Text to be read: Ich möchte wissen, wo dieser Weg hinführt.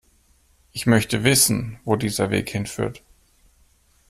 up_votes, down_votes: 2, 0